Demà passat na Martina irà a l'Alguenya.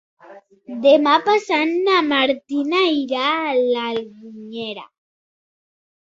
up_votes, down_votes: 0, 2